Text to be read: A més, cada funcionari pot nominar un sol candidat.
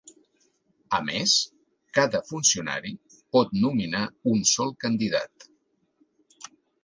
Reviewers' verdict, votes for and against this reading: accepted, 3, 0